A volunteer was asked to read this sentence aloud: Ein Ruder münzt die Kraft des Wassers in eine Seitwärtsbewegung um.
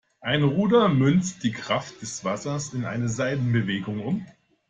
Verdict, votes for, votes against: rejected, 0, 2